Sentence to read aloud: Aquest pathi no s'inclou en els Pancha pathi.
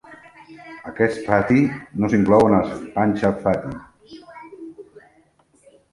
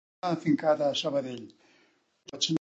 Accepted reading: first